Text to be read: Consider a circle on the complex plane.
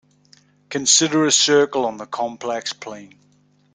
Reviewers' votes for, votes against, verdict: 2, 0, accepted